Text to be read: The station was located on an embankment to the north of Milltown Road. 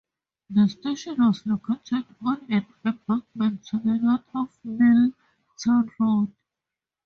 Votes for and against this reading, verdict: 4, 0, accepted